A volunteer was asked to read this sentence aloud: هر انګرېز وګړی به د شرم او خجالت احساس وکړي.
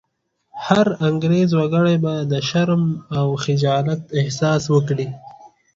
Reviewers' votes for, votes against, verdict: 2, 0, accepted